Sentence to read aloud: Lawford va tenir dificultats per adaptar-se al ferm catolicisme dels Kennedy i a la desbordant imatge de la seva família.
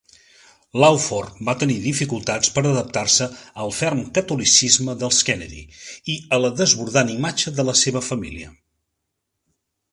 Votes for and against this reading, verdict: 3, 0, accepted